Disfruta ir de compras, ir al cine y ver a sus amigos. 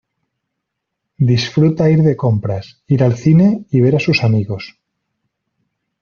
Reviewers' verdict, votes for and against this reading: accepted, 2, 0